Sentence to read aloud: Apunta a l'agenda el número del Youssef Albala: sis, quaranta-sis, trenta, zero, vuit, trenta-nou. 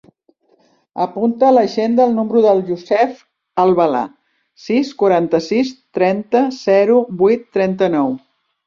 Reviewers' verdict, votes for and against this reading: accepted, 2, 0